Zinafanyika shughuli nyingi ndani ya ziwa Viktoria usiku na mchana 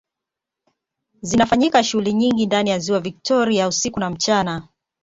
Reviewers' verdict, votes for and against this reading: rejected, 1, 2